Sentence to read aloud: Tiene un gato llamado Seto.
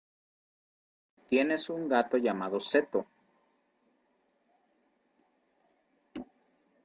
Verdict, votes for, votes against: rejected, 0, 2